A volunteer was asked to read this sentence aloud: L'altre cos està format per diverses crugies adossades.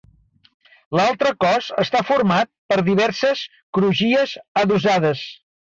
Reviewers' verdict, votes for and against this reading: accepted, 2, 1